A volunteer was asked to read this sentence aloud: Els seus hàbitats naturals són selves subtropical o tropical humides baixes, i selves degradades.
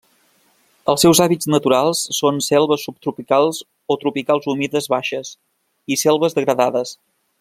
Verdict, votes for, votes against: rejected, 0, 2